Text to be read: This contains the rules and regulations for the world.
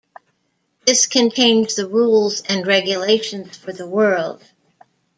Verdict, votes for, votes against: accepted, 2, 0